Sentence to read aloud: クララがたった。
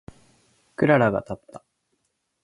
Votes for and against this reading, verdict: 2, 0, accepted